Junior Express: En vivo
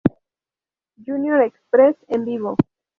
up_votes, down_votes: 2, 0